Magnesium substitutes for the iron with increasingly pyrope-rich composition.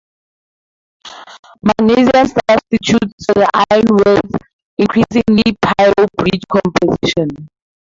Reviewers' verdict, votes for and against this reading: rejected, 2, 2